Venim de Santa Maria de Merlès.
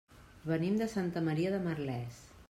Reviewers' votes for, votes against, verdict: 3, 0, accepted